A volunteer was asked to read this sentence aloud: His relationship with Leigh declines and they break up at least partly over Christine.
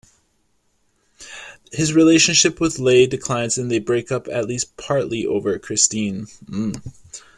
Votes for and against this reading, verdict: 1, 2, rejected